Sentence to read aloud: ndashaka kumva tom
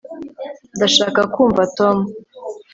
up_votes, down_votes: 2, 0